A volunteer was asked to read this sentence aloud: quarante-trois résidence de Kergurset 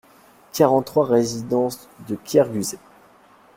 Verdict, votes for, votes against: rejected, 1, 2